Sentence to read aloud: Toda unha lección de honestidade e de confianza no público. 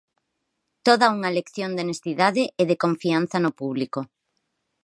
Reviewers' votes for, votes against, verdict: 4, 0, accepted